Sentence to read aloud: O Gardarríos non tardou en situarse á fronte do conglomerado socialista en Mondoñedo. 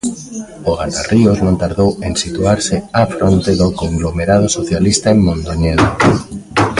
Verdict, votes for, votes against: rejected, 1, 2